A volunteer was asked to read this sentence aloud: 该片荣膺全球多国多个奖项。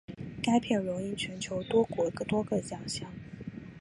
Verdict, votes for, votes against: accepted, 2, 0